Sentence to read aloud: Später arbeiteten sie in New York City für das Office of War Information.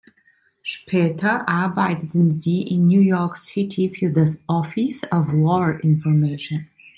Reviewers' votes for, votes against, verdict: 2, 0, accepted